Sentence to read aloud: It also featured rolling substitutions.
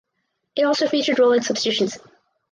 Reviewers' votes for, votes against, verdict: 2, 2, rejected